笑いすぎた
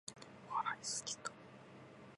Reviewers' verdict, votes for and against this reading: accepted, 2, 0